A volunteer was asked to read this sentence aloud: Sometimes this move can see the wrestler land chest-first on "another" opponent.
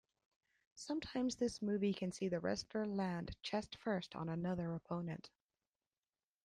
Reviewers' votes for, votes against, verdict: 1, 2, rejected